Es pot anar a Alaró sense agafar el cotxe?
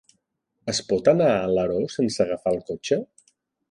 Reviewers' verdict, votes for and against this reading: accepted, 3, 0